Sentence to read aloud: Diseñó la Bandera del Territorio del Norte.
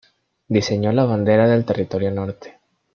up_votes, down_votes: 0, 2